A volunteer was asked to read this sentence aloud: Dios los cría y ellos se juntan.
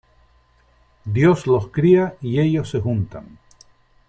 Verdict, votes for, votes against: accepted, 3, 1